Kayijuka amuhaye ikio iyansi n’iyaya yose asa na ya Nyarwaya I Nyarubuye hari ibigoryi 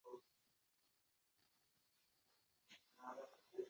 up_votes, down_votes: 1, 2